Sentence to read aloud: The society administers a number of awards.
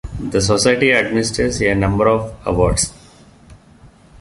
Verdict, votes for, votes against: accepted, 2, 0